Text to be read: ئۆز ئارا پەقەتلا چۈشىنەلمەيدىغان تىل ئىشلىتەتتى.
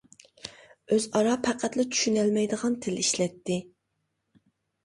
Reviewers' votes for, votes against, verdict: 0, 2, rejected